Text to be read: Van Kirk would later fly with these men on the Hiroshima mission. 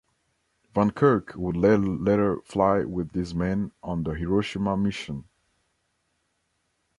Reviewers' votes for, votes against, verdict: 0, 2, rejected